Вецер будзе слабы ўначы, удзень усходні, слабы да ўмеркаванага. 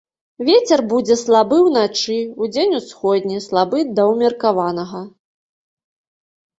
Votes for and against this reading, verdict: 2, 0, accepted